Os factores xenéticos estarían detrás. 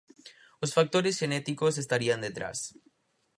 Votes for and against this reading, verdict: 4, 0, accepted